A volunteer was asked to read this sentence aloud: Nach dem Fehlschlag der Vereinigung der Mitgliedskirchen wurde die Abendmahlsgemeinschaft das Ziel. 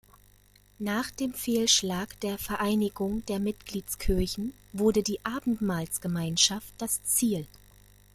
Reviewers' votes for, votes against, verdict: 2, 0, accepted